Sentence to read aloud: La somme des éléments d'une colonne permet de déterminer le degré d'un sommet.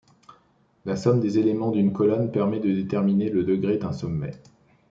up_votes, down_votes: 2, 0